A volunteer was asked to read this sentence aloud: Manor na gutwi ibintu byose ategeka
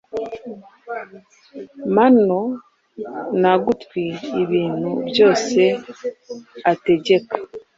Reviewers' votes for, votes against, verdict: 2, 0, accepted